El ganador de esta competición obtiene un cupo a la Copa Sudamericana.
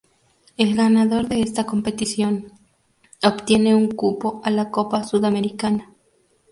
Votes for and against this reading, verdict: 6, 0, accepted